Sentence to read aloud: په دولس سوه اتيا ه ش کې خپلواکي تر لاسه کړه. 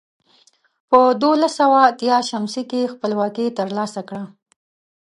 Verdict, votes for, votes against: rejected, 1, 2